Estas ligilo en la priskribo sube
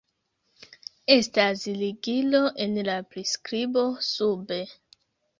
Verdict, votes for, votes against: accepted, 2, 0